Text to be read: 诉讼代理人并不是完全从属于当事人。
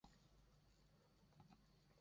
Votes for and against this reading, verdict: 2, 3, rejected